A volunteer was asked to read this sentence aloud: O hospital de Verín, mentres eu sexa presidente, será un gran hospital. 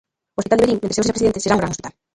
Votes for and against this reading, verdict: 0, 3, rejected